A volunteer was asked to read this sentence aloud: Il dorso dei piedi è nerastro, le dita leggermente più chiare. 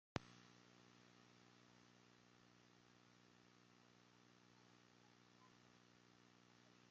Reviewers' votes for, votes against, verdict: 0, 2, rejected